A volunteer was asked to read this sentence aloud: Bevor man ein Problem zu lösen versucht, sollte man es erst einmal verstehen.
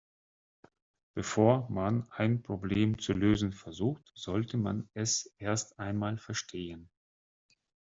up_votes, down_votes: 2, 4